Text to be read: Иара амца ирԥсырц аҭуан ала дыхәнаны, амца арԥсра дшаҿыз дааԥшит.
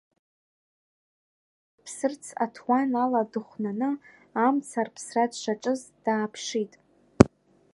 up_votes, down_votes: 0, 2